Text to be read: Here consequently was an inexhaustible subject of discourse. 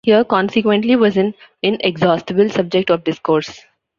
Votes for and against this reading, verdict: 2, 1, accepted